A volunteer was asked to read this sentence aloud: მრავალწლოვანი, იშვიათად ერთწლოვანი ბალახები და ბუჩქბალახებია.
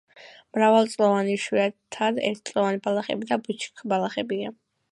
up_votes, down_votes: 2, 0